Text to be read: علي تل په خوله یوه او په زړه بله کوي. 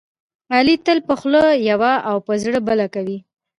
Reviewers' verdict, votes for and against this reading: accepted, 2, 1